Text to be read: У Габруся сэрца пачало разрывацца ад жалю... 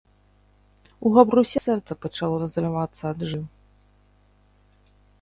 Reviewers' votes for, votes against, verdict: 0, 3, rejected